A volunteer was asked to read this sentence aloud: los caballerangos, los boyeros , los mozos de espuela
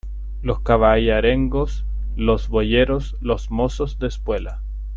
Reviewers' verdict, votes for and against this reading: rejected, 0, 2